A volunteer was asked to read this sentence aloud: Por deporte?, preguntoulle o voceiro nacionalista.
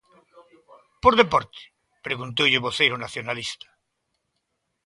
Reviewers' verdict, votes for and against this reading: accepted, 2, 0